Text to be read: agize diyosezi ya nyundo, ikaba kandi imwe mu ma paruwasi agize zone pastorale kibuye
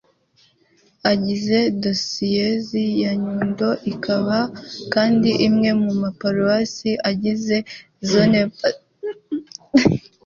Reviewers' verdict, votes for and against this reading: rejected, 1, 2